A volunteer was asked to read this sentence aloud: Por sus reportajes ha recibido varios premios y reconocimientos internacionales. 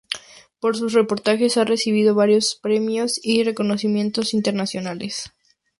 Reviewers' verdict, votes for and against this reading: accepted, 2, 0